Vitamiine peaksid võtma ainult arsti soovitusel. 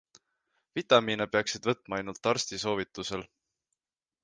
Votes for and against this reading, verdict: 2, 0, accepted